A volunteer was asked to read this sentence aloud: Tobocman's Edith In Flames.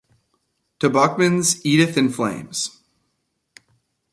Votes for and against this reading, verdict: 2, 0, accepted